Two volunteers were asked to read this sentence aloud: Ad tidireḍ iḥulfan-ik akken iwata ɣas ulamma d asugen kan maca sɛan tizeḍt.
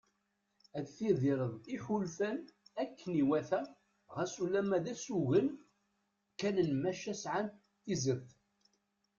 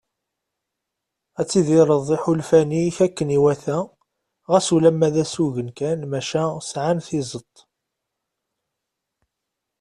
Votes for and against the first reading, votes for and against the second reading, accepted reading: 1, 2, 2, 0, second